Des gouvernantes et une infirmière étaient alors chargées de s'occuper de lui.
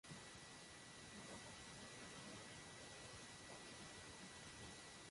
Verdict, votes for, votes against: rejected, 0, 2